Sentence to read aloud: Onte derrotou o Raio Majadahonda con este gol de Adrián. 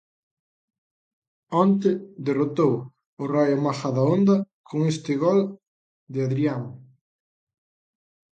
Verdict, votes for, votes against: accepted, 2, 0